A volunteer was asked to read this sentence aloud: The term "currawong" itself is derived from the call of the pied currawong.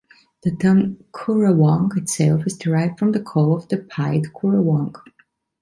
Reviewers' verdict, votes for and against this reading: accepted, 2, 0